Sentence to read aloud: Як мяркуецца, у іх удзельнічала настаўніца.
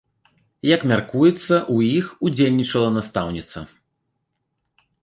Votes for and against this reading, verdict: 2, 1, accepted